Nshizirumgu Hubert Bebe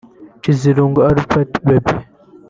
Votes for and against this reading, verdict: 1, 2, rejected